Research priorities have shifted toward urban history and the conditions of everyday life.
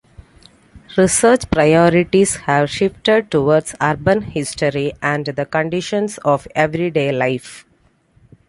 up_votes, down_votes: 2, 0